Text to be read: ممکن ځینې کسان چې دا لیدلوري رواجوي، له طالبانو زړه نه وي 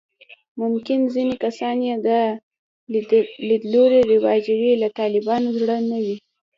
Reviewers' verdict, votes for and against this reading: rejected, 1, 2